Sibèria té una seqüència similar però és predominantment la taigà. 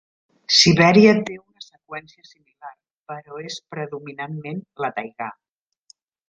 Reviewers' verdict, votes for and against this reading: rejected, 0, 2